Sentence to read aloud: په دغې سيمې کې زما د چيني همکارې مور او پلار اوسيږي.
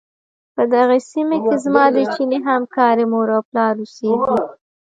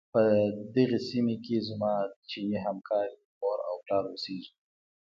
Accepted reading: second